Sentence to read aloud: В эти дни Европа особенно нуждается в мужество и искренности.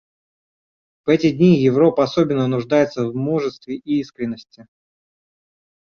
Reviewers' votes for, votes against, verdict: 0, 2, rejected